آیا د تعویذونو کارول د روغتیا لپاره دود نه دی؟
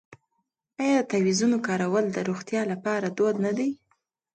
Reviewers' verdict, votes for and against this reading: accepted, 2, 0